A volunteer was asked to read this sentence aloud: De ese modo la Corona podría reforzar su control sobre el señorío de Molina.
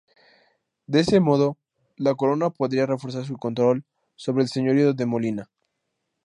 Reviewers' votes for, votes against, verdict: 2, 2, rejected